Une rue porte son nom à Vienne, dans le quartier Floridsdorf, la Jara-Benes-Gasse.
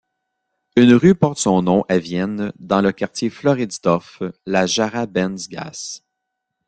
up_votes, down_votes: 1, 2